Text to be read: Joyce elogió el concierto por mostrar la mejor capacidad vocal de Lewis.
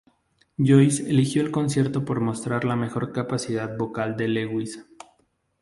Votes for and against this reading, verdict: 0, 2, rejected